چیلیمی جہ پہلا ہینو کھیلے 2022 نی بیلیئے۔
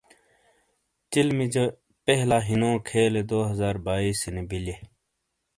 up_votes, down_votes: 0, 2